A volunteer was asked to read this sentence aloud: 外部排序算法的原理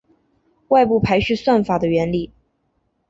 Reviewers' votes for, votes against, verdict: 2, 0, accepted